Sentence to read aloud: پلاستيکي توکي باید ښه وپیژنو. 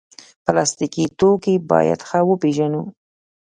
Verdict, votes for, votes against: rejected, 0, 2